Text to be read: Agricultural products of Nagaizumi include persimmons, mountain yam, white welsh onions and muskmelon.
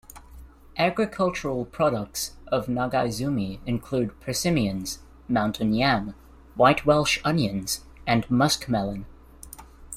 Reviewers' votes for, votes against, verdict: 1, 2, rejected